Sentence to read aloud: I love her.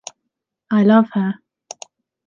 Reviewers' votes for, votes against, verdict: 2, 0, accepted